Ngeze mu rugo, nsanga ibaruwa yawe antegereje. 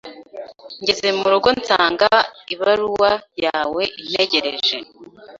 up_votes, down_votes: 1, 2